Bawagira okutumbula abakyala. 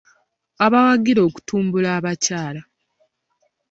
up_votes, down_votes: 1, 2